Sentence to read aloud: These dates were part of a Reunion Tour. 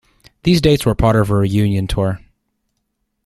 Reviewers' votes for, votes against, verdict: 2, 0, accepted